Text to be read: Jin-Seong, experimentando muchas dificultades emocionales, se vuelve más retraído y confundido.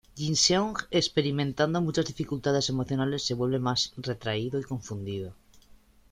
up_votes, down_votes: 2, 1